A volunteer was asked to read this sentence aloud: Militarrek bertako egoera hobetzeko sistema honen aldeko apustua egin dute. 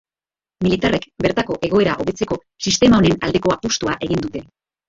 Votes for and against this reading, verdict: 2, 1, accepted